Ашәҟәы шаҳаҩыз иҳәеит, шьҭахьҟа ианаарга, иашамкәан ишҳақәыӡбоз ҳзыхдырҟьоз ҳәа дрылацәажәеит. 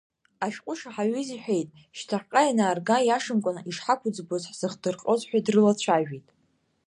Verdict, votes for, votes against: accepted, 2, 0